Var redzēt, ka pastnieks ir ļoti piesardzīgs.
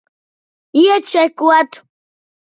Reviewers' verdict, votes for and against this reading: rejected, 0, 2